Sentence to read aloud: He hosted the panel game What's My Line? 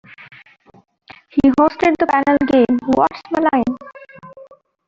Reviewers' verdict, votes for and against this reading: accepted, 2, 1